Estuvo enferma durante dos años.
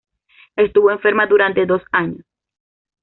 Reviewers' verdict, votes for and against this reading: accepted, 2, 0